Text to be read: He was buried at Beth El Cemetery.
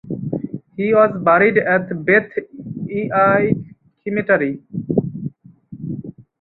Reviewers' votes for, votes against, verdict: 0, 4, rejected